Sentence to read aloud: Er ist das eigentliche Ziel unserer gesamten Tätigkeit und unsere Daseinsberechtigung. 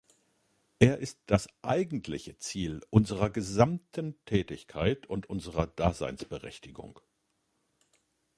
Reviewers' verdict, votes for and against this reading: rejected, 1, 2